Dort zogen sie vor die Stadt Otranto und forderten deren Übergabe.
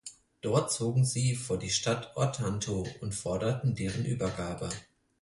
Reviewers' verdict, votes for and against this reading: rejected, 0, 4